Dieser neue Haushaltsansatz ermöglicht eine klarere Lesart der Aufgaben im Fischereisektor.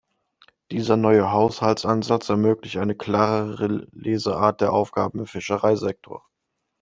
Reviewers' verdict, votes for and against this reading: rejected, 1, 2